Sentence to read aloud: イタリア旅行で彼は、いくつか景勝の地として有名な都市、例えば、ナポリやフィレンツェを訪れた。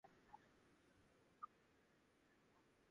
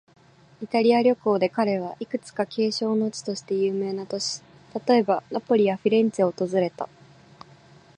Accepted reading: second